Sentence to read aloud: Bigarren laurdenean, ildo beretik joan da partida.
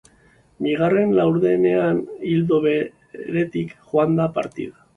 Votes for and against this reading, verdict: 2, 2, rejected